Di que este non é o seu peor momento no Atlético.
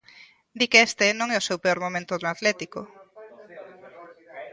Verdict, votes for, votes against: rejected, 0, 2